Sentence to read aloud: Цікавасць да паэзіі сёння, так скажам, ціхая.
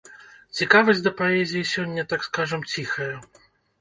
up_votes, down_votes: 2, 0